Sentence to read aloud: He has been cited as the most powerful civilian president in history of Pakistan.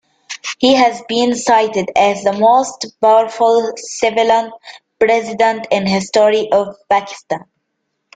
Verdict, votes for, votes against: accepted, 2, 0